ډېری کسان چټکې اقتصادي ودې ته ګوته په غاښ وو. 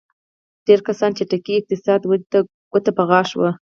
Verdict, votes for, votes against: rejected, 0, 4